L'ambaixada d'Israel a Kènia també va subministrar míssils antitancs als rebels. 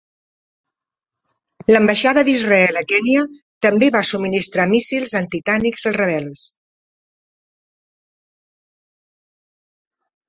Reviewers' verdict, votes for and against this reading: rejected, 0, 2